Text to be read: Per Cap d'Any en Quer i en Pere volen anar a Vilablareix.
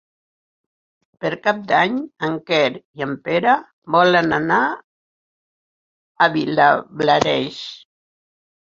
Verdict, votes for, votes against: accepted, 4, 2